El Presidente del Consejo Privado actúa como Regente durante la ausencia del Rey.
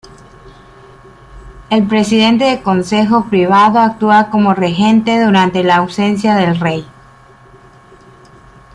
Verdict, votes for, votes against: rejected, 1, 2